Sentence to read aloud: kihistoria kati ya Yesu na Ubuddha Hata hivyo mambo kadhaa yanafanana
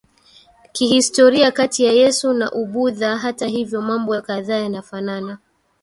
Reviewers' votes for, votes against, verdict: 1, 2, rejected